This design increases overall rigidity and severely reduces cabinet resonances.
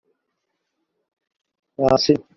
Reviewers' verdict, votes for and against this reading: rejected, 0, 2